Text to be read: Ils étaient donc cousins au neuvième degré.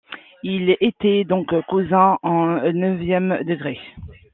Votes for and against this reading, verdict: 2, 1, accepted